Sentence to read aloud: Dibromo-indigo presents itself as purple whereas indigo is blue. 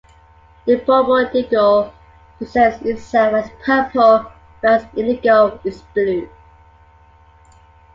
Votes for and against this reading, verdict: 1, 2, rejected